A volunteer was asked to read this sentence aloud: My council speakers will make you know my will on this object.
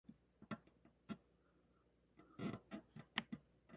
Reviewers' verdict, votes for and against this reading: rejected, 0, 2